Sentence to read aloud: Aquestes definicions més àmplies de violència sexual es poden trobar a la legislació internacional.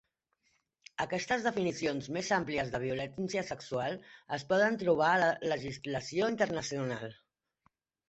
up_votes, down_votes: 3, 0